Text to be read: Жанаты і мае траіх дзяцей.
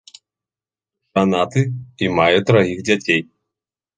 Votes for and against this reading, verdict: 1, 2, rejected